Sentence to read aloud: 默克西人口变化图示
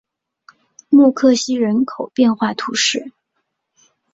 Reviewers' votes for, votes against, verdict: 2, 0, accepted